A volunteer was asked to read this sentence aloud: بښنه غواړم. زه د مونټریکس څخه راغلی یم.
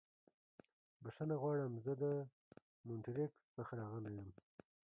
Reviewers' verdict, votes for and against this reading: rejected, 1, 2